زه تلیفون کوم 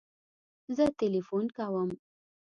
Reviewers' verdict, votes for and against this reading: accepted, 3, 0